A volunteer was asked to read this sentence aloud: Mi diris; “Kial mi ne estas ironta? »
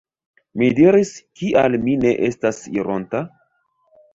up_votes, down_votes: 0, 2